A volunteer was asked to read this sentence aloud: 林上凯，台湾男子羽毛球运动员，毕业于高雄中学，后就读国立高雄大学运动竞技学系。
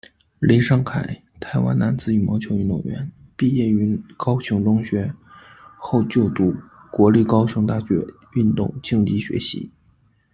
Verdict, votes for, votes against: rejected, 0, 2